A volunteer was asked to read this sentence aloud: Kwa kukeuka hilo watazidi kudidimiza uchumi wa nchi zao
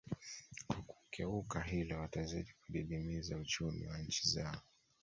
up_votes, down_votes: 1, 2